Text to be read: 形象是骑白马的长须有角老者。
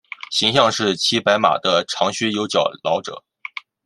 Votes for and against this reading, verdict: 2, 0, accepted